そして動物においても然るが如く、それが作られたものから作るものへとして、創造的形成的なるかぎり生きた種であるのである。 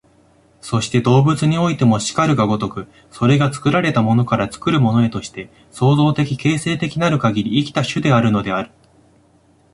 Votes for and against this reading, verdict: 2, 0, accepted